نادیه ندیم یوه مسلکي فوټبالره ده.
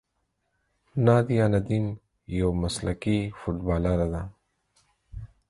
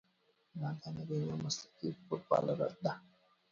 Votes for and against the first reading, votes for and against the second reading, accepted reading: 4, 0, 0, 2, first